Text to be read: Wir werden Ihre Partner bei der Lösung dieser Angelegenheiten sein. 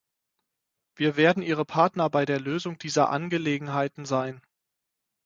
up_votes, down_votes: 6, 0